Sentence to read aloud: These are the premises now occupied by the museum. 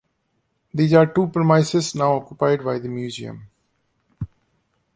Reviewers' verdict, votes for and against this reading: accepted, 2, 0